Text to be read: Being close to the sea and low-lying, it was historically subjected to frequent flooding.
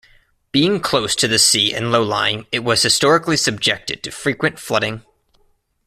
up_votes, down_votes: 2, 0